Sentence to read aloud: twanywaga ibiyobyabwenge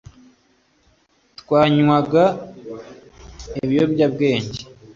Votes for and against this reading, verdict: 2, 1, accepted